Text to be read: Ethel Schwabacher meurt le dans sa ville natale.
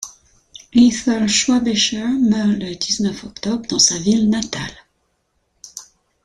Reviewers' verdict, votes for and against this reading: rejected, 0, 2